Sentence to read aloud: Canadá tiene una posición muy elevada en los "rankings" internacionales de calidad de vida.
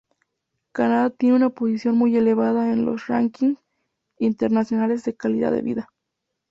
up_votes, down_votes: 0, 2